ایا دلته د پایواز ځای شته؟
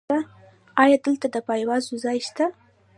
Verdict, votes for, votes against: accepted, 2, 0